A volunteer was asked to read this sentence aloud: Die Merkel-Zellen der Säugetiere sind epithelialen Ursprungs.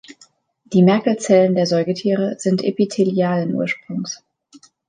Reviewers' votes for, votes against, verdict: 2, 0, accepted